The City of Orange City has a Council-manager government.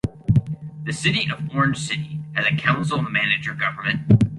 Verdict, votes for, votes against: rejected, 0, 2